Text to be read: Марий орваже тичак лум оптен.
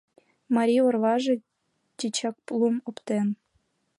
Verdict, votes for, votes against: accepted, 2, 0